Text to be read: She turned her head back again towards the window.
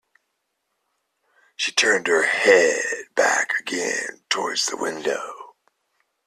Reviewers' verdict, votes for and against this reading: accepted, 2, 0